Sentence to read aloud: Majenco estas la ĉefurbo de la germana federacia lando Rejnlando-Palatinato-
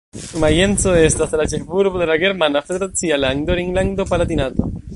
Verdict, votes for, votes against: rejected, 1, 2